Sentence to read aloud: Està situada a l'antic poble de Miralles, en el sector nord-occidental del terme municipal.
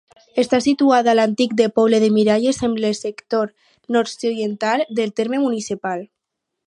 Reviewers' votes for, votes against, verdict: 2, 4, rejected